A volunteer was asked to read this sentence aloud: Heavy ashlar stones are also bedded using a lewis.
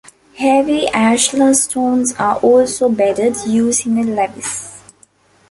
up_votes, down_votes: 2, 0